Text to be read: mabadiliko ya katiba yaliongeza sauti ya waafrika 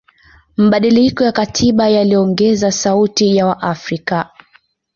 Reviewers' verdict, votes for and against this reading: accepted, 2, 0